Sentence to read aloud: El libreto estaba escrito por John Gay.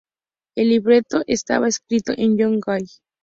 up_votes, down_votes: 2, 0